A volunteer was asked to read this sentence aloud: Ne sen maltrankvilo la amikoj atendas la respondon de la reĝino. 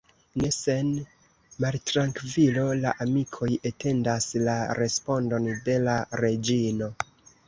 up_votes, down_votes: 0, 2